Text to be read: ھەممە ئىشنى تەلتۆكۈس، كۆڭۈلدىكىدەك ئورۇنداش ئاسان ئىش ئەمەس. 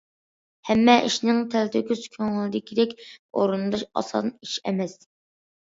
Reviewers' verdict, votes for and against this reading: accepted, 2, 1